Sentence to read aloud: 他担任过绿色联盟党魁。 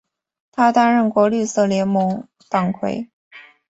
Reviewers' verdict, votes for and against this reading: accepted, 2, 0